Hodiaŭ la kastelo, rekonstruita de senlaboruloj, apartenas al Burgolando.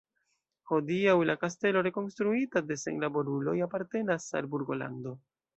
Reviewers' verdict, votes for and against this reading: accepted, 2, 0